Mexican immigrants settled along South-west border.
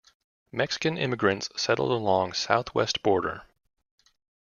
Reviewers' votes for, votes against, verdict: 2, 0, accepted